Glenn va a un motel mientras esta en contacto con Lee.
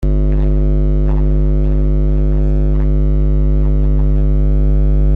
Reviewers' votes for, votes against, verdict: 0, 2, rejected